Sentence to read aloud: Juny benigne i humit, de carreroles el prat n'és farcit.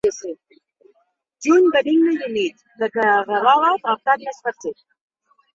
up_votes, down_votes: 1, 2